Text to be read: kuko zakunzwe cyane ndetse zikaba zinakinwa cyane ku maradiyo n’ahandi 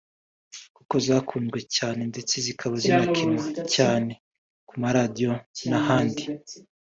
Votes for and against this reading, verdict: 3, 0, accepted